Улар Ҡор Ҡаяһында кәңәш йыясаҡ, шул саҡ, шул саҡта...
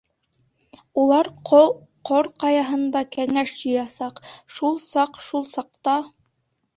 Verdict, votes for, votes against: rejected, 0, 2